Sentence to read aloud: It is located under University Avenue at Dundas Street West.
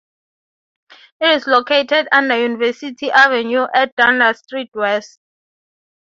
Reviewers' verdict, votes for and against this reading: accepted, 3, 0